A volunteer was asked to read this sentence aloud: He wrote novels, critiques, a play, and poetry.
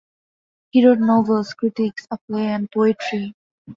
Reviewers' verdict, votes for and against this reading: accepted, 2, 0